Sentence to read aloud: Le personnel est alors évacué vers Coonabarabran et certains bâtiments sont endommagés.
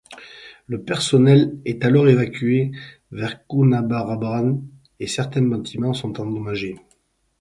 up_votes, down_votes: 4, 2